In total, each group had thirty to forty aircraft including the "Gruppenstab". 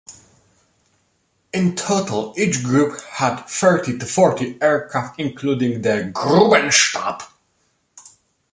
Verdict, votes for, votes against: rejected, 0, 2